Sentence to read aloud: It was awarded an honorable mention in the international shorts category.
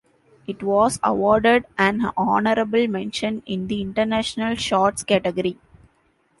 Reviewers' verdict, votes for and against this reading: accepted, 2, 0